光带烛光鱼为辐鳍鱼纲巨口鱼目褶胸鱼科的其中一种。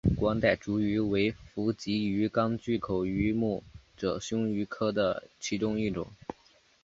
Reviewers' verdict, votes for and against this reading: accepted, 2, 1